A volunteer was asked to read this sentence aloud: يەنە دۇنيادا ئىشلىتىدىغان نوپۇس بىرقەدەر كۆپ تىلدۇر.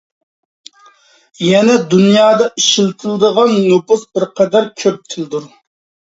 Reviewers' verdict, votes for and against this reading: accepted, 2, 0